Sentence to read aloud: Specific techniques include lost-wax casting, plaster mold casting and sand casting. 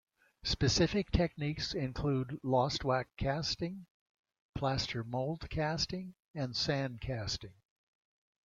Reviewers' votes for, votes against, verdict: 2, 0, accepted